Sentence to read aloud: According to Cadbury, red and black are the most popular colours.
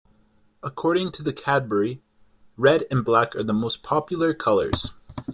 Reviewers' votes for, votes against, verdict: 1, 2, rejected